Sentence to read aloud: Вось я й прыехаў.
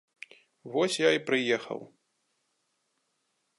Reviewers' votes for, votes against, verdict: 2, 0, accepted